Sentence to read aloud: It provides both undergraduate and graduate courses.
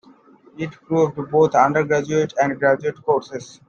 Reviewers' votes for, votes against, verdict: 0, 2, rejected